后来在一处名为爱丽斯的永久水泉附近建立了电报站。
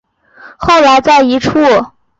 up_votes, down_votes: 1, 4